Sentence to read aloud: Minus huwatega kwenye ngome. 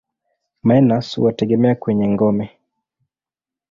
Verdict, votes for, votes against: rejected, 1, 2